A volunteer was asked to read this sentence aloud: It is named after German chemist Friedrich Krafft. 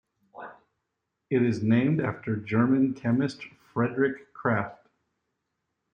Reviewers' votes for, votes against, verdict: 2, 0, accepted